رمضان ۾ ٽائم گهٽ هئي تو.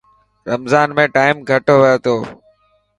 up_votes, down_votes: 2, 0